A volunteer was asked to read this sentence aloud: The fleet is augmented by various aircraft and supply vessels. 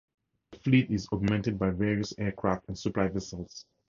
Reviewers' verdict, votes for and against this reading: accepted, 4, 2